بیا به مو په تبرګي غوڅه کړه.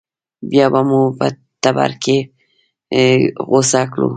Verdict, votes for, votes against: rejected, 1, 2